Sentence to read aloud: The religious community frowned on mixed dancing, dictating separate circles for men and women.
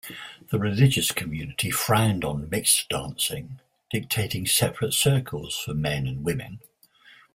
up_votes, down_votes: 2, 0